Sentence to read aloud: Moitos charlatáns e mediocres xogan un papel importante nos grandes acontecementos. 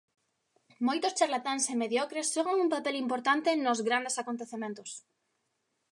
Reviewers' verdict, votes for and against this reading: accepted, 2, 1